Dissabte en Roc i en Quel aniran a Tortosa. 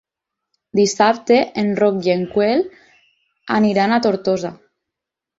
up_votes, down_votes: 0, 6